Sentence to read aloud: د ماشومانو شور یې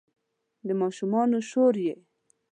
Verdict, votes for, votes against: accepted, 2, 0